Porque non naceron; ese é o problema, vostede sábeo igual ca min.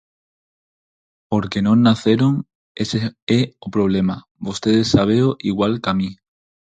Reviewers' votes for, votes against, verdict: 0, 4, rejected